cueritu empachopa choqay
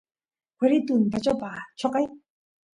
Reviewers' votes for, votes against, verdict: 2, 0, accepted